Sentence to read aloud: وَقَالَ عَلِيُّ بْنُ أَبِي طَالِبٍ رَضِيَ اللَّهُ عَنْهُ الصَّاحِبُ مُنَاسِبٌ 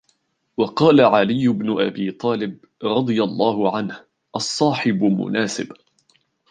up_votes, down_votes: 2, 0